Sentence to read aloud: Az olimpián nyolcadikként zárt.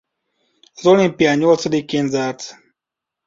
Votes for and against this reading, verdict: 2, 0, accepted